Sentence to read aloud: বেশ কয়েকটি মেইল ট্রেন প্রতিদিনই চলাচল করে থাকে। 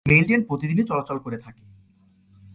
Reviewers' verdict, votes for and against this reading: rejected, 0, 2